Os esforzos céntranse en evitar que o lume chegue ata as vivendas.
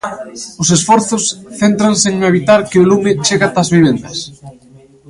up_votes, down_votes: 2, 0